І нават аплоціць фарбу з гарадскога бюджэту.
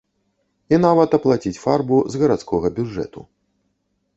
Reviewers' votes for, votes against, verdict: 0, 2, rejected